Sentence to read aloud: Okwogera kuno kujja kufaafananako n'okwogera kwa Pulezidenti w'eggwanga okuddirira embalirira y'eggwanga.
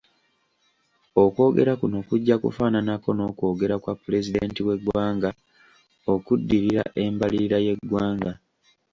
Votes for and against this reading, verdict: 2, 0, accepted